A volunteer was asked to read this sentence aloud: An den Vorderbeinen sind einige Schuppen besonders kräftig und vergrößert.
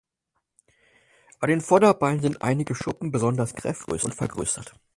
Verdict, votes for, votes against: rejected, 0, 4